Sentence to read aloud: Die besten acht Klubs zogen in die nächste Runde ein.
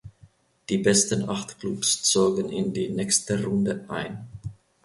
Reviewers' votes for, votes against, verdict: 2, 0, accepted